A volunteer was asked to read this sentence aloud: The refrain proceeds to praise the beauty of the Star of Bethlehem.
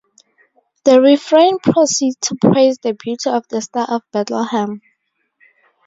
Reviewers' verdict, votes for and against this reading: rejected, 2, 2